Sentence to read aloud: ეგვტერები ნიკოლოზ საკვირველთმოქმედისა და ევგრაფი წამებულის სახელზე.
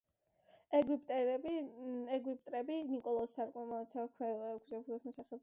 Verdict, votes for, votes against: rejected, 0, 2